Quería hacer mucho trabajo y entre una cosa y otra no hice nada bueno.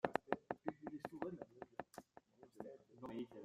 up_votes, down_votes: 0, 2